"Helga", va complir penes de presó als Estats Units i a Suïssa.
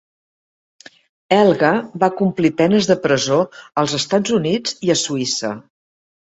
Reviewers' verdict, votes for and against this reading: accepted, 2, 0